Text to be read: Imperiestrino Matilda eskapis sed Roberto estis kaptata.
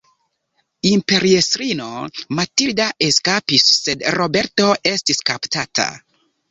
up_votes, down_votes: 1, 2